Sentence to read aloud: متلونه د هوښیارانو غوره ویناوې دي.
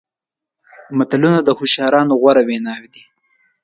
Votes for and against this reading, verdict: 2, 0, accepted